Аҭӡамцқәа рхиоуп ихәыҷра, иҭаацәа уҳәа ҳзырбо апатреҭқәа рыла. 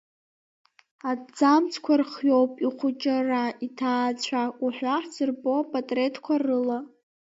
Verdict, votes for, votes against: rejected, 0, 2